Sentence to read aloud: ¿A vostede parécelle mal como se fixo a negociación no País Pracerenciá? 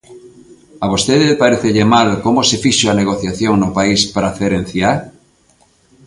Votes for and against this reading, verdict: 3, 0, accepted